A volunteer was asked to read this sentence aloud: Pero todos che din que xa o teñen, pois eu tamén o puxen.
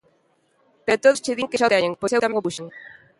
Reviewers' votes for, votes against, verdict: 0, 2, rejected